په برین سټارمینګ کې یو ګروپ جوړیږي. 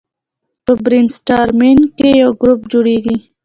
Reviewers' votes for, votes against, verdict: 2, 0, accepted